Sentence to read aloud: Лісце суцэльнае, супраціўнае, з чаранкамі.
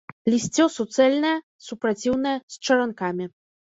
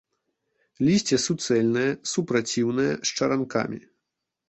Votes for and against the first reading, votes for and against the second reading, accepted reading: 1, 2, 2, 0, second